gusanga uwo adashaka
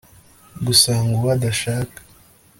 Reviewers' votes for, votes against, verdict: 3, 0, accepted